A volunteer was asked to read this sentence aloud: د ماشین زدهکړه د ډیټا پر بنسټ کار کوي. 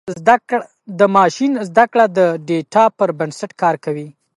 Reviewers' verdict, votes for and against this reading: accepted, 2, 1